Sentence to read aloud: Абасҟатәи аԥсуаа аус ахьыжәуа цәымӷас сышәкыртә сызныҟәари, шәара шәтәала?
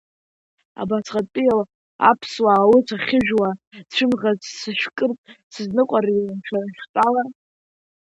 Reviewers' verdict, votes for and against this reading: rejected, 0, 2